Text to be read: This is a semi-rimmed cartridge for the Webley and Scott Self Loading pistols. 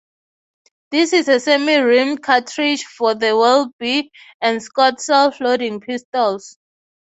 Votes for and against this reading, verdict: 6, 0, accepted